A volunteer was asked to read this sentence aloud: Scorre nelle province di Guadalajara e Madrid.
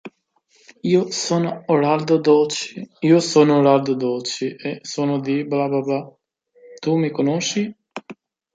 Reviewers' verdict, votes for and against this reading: rejected, 0, 2